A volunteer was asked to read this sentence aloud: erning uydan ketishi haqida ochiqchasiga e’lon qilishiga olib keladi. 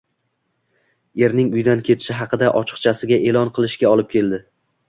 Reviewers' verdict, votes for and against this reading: rejected, 1, 2